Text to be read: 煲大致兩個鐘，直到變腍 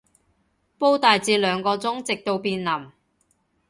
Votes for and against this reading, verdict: 2, 0, accepted